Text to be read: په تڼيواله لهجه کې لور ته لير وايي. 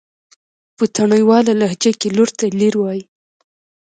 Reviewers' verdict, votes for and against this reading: rejected, 1, 2